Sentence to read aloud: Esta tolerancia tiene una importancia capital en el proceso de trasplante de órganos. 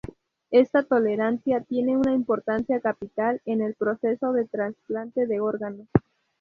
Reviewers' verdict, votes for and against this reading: accepted, 2, 0